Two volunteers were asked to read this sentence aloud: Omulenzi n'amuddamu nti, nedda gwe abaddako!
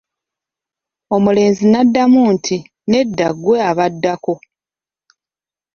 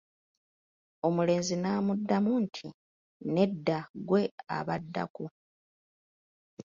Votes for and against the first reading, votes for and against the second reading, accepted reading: 1, 2, 2, 1, second